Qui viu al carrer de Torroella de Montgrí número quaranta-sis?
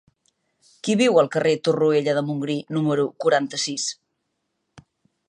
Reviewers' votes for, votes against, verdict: 1, 2, rejected